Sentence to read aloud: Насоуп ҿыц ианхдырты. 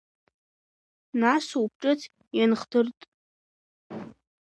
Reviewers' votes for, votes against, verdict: 1, 2, rejected